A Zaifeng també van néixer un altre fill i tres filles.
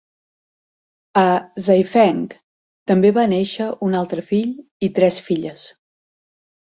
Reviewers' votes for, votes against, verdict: 0, 4, rejected